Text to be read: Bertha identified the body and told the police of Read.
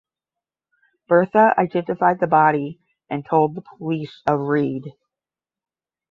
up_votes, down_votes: 10, 0